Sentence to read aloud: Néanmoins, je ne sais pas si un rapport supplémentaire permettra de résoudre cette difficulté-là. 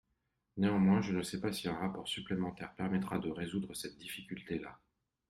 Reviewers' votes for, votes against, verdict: 3, 0, accepted